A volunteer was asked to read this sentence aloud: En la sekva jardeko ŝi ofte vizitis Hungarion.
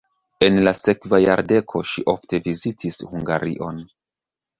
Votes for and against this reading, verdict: 1, 2, rejected